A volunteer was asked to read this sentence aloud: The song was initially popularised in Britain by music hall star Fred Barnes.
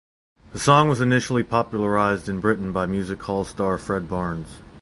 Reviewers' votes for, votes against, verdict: 4, 0, accepted